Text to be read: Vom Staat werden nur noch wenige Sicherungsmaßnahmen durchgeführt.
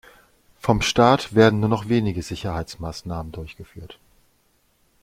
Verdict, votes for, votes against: rejected, 0, 2